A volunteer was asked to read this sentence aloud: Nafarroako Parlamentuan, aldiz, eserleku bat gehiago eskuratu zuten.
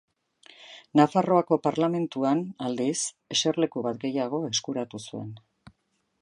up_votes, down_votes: 0, 3